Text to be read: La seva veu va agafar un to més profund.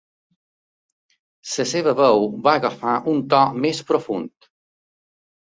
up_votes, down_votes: 2, 1